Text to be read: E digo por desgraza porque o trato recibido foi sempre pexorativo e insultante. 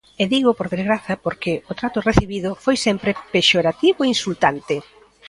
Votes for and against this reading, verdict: 2, 1, accepted